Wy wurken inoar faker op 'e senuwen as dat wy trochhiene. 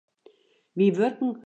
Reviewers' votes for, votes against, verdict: 0, 2, rejected